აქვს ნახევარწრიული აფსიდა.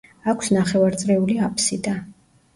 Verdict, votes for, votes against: accepted, 2, 0